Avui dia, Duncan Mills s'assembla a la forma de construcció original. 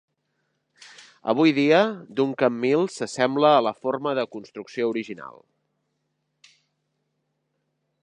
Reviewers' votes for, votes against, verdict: 3, 0, accepted